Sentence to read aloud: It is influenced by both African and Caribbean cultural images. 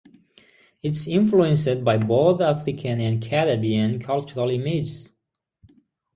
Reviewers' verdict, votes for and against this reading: accepted, 3, 0